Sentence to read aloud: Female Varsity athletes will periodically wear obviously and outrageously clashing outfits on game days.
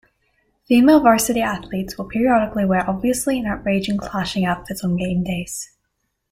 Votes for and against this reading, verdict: 0, 2, rejected